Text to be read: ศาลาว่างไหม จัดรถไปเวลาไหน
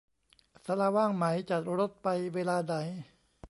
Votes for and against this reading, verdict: 2, 0, accepted